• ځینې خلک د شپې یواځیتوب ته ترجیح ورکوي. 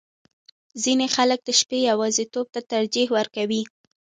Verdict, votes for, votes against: accepted, 2, 1